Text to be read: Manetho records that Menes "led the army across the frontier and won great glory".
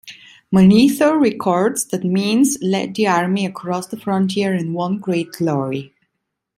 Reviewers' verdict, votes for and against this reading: rejected, 0, 2